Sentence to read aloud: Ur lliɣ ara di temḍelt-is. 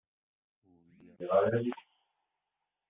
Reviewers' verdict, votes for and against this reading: rejected, 1, 2